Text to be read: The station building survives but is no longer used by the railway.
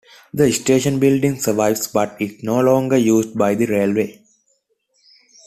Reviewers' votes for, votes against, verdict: 2, 0, accepted